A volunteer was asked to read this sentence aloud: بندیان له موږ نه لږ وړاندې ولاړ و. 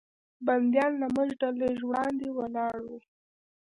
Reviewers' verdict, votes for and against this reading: rejected, 1, 2